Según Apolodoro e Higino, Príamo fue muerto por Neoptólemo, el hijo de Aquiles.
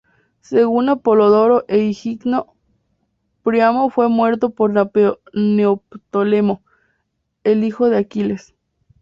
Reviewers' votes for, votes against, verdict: 0, 4, rejected